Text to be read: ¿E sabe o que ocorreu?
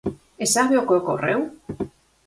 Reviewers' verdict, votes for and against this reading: accepted, 4, 0